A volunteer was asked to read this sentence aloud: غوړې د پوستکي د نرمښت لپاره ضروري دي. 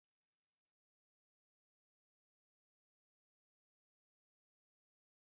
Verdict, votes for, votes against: rejected, 1, 2